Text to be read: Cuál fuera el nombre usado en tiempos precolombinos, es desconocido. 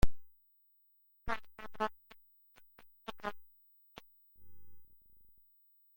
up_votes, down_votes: 0, 2